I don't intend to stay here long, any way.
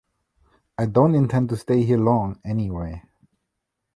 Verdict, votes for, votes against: rejected, 0, 2